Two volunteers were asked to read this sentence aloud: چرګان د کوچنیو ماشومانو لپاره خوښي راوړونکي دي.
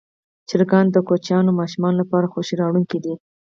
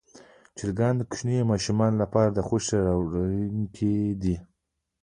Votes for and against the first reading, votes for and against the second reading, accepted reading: 2, 4, 2, 1, second